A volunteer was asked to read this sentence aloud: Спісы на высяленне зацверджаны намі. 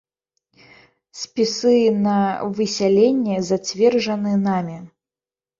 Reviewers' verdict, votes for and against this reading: rejected, 1, 2